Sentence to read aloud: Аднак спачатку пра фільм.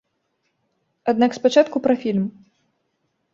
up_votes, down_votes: 2, 0